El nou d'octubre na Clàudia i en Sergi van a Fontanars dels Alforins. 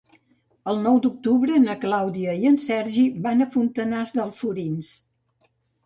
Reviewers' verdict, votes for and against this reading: rejected, 1, 2